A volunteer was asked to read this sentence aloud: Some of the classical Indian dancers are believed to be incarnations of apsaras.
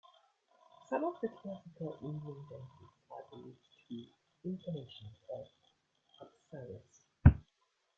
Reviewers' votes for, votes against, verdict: 0, 2, rejected